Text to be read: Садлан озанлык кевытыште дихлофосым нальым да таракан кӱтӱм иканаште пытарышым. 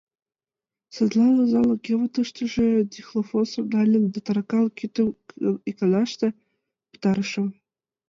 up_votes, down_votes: 0, 2